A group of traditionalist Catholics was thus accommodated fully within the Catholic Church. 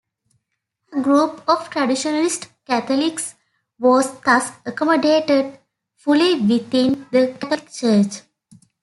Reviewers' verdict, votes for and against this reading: accepted, 2, 1